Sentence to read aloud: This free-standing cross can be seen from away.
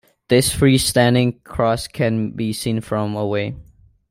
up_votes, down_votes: 2, 1